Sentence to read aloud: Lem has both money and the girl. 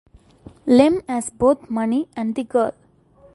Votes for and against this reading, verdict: 2, 0, accepted